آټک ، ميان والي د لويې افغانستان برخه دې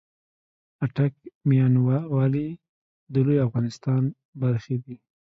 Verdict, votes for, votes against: rejected, 0, 2